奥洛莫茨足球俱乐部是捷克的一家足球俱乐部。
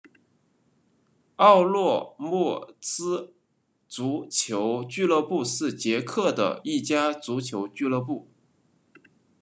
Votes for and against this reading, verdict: 2, 0, accepted